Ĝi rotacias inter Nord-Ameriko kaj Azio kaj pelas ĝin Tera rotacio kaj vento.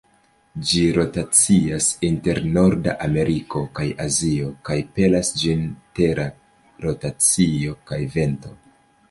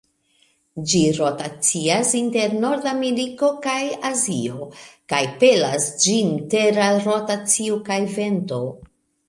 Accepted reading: first